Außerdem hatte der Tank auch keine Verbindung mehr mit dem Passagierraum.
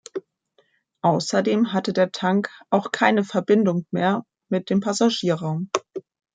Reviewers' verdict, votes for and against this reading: accepted, 2, 0